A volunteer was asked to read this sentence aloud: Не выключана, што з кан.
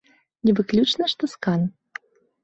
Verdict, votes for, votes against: accepted, 2, 0